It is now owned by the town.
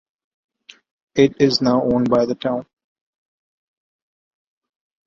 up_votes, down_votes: 2, 0